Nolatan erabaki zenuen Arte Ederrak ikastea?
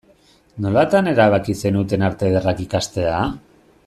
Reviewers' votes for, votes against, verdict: 0, 2, rejected